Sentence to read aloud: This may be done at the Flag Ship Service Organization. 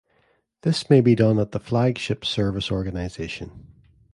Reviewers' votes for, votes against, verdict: 2, 0, accepted